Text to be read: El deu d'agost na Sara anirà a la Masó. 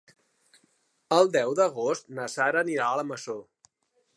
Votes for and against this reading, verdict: 2, 0, accepted